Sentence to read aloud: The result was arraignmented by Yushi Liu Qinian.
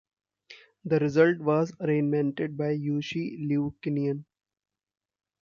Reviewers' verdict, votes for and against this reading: rejected, 0, 2